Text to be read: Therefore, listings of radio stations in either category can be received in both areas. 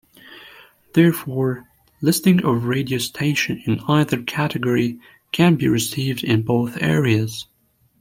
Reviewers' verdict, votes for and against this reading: accepted, 2, 1